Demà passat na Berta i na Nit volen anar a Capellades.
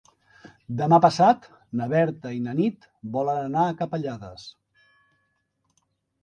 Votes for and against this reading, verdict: 3, 0, accepted